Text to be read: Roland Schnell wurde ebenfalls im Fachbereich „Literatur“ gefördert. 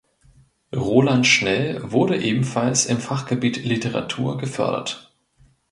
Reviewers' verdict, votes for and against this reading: rejected, 1, 2